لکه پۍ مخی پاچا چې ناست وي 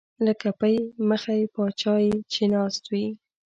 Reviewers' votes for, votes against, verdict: 2, 0, accepted